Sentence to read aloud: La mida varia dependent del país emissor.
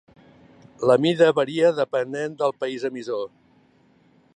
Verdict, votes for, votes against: accepted, 2, 0